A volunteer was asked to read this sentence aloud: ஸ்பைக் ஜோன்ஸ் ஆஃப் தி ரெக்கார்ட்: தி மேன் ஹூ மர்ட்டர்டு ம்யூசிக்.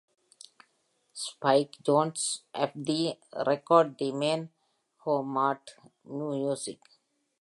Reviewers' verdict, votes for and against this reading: rejected, 1, 2